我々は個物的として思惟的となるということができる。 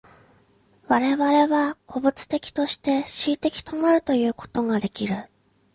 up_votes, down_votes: 2, 0